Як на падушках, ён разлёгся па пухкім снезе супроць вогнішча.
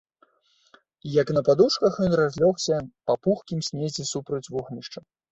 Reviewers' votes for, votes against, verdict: 4, 1, accepted